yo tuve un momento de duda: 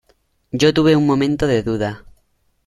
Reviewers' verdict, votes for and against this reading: accepted, 2, 0